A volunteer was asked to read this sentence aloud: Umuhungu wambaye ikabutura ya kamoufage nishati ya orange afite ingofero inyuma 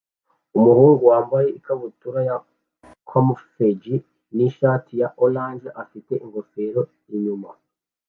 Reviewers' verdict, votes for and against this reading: rejected, 1, 2